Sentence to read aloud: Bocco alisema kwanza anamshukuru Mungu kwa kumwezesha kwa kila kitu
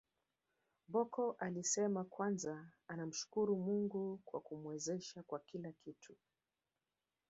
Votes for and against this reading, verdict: 1, 2, rejected